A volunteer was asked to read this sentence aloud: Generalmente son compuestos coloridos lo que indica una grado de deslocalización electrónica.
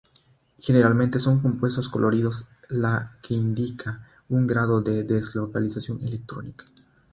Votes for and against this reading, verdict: 0, 3, rejected